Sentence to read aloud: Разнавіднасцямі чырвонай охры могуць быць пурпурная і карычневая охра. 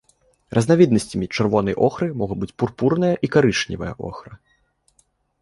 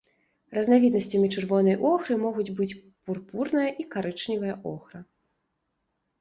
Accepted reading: second